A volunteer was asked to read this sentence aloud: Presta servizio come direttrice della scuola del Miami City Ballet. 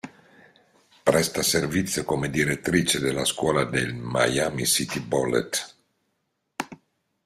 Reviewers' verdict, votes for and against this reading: rejected, 0, 2